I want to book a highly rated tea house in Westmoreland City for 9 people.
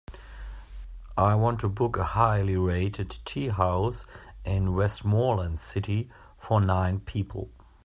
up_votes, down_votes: 0, 2